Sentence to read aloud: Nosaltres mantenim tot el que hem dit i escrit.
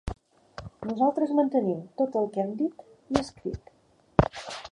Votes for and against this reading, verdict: 0, 2, rejected